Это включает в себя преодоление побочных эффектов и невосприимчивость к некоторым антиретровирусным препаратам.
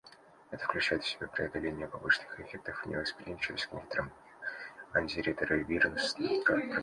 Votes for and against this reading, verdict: 1, 2, rejected